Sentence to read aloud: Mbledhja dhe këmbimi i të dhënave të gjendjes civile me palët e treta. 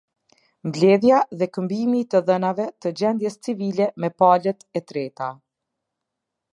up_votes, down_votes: 2, 0